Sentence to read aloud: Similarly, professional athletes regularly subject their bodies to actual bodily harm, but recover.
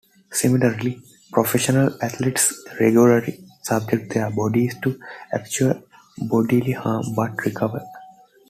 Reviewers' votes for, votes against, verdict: 2, 0, accepted